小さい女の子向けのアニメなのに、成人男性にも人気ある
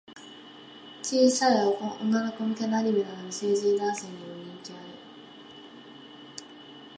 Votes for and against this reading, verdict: 0, 2, rejected